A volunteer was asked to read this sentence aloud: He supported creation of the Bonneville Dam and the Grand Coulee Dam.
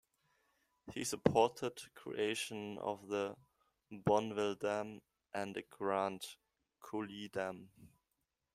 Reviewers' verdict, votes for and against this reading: rejected, 0, 2